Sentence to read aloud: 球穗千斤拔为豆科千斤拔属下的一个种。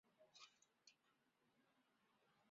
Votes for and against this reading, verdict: 0, 5, rejected